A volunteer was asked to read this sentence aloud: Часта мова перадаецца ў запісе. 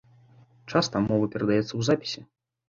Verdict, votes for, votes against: accepted, 2, 0